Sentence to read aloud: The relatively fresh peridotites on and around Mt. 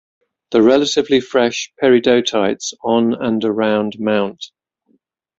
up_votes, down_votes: 6, 1